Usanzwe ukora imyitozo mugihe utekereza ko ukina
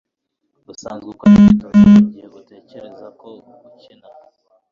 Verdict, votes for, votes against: rejected, 1, 2